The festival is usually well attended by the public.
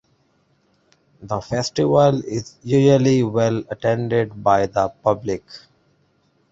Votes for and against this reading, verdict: 2, 1, accepted